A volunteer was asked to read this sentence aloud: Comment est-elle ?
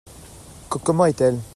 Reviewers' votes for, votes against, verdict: 0, 2, rejected